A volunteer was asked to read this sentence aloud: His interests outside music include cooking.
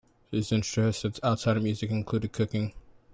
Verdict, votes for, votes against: accepted, 2, 1